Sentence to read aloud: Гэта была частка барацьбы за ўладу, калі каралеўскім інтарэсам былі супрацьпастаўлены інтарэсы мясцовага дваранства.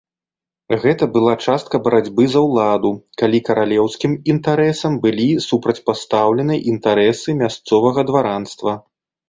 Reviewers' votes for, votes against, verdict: 2, 0, accepted